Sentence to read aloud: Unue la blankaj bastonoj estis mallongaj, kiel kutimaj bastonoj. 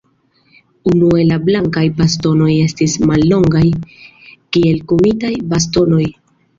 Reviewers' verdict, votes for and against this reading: rejected, 0, 2